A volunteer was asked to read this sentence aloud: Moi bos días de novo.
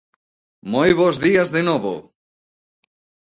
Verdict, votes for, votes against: accepted, 2, 0